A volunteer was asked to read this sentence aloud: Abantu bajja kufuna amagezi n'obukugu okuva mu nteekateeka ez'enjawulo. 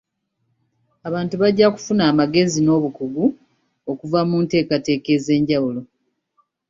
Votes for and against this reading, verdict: 2, 0, accepted